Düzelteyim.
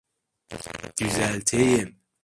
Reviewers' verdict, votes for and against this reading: rejected, 1, 2